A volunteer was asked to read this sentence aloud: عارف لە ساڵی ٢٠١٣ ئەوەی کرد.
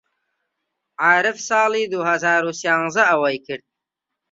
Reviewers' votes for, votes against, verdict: 0, 2, rejected